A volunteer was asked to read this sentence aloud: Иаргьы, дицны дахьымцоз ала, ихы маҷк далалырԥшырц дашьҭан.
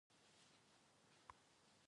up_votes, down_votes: 0, 2